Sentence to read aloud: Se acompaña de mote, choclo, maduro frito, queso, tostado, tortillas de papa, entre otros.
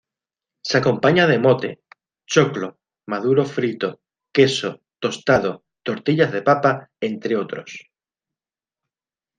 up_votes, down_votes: 2, 0